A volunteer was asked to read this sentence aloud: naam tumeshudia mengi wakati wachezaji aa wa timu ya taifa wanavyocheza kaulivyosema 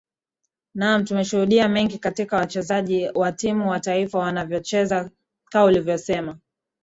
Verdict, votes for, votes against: accepted, 2, 0